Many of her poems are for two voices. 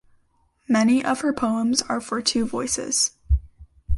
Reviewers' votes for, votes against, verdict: 2, 0, accepted